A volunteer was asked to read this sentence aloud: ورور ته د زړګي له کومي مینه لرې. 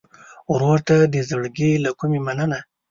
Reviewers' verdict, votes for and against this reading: rejected, 2, 3